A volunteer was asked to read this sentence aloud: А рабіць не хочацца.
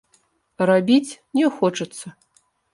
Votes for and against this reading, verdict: 1, 2, rejected